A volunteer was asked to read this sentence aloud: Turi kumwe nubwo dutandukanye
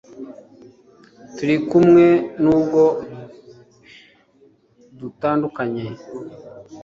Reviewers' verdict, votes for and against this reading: accepted, 2, 0